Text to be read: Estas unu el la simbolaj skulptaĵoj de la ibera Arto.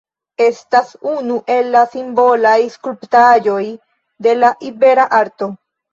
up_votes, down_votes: 2, 0